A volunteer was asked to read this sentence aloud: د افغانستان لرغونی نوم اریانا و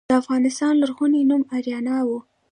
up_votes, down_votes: 2, 1